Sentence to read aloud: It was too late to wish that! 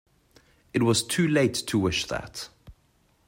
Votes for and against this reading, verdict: 2, 0, accepted